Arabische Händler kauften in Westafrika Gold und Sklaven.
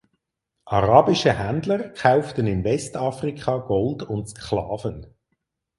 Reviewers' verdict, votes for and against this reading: accepted, 4, 0